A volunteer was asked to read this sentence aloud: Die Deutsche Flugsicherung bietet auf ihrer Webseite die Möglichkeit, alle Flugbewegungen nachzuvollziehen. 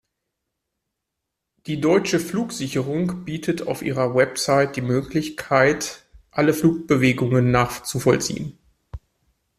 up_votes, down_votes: 1, 2